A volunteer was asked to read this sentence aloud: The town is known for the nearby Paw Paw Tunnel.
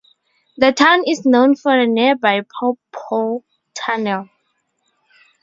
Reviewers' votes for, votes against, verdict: 4, 0, accepted